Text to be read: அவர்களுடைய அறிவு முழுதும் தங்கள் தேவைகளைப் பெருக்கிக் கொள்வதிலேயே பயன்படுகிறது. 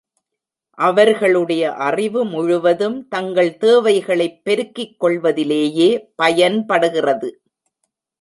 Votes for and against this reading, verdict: 2, 0, accepted